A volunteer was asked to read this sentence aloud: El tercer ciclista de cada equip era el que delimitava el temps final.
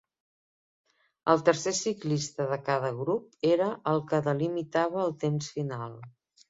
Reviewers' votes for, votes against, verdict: 0, 4, rejected